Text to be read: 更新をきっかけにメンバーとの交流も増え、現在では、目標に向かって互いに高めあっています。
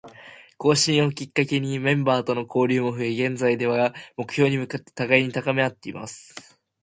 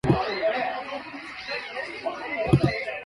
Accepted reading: first